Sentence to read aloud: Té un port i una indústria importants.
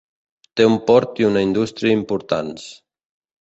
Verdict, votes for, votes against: accepted, 2, 1